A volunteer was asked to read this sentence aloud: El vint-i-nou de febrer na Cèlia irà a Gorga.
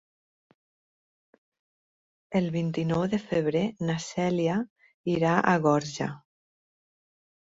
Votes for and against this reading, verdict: 2, 4, rejected